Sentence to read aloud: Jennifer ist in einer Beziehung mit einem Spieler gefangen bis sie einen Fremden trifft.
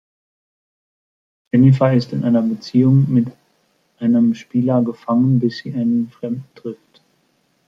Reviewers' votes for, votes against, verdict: 2, 0, accepted